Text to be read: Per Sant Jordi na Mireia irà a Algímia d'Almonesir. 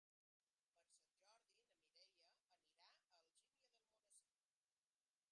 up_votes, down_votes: 0, 2